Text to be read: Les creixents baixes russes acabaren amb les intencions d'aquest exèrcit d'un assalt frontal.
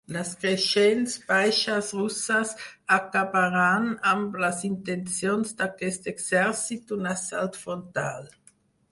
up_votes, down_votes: 2, 4